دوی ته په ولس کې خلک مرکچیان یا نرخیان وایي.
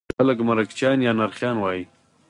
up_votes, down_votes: 4, 0